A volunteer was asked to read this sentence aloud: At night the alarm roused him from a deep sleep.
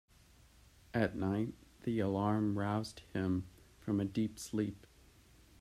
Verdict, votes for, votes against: accepted, 2, 1